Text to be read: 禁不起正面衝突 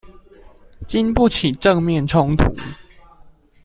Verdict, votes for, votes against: accepted, 2, 0